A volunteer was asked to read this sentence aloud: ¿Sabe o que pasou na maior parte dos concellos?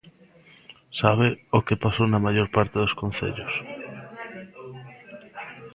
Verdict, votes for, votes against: rejected, 0, 2